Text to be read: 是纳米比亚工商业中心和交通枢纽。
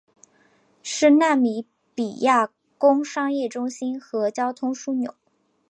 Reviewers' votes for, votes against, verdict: 3, 0, accepted